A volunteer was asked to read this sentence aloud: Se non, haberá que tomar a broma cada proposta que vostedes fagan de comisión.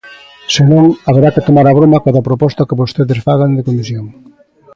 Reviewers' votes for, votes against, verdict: 2, 0, accepted